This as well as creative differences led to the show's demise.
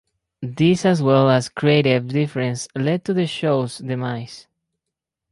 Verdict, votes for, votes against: rejected, 2, 2